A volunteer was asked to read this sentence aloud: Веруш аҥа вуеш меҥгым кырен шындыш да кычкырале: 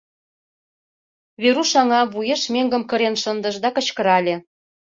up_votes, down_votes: 2, 0